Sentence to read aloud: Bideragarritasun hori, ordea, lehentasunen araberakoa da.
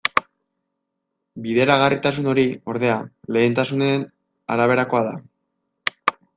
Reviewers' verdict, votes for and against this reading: rejected, 0, 2